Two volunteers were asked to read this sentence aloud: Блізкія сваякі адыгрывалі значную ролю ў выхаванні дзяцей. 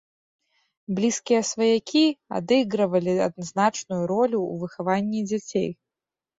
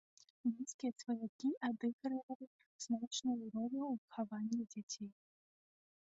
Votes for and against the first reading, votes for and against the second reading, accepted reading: 2, 1, 0, 2, first